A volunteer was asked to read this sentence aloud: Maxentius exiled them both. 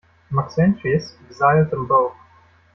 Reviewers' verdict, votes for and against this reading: rejected, 0, 2